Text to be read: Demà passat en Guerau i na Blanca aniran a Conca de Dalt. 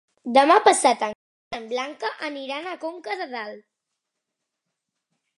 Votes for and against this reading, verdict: 0, 2, rejected